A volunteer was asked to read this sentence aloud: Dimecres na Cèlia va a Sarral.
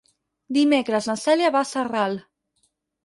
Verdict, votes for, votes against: accepted, 4, 0